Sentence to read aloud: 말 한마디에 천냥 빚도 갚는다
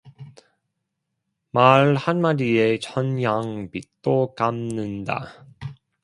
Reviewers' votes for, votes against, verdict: 2, 0, accepted